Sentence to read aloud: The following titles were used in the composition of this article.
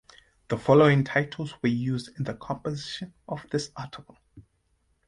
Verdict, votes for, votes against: rejected, 1, 2